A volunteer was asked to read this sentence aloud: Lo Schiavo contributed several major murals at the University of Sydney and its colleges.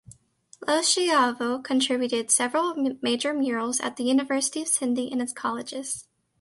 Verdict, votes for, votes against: rejected, 1, 2